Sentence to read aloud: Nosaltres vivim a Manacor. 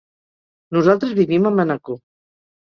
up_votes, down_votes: 1, 2